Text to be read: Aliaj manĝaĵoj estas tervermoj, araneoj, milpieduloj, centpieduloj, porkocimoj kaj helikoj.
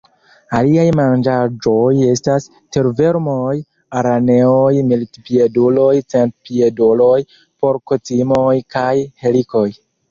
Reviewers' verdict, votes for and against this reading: rejected, 1, 4